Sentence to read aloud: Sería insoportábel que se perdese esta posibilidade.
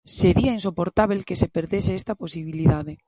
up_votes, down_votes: 2, 0